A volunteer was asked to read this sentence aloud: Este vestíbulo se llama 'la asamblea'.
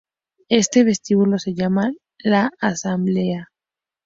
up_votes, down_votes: 4, 0